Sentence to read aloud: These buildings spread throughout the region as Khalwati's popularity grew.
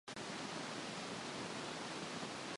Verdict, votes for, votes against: rejected, 0, 2